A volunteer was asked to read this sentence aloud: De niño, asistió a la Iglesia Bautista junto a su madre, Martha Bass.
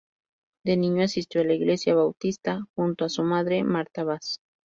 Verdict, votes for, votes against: accepted, 2, 0